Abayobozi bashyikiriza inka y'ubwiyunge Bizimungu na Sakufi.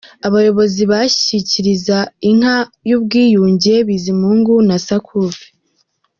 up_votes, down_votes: 0, 2